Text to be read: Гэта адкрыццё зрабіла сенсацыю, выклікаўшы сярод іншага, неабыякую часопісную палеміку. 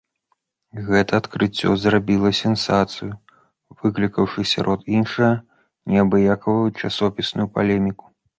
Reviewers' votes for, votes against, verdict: 2, 1, accepted